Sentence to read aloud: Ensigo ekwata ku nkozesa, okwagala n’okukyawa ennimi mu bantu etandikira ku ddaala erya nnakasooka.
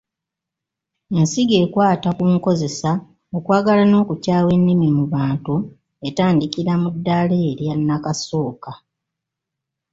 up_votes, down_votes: 1, 2